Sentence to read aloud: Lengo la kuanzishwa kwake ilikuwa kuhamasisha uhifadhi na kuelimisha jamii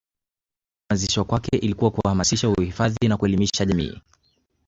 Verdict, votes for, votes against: rejected, 0, 2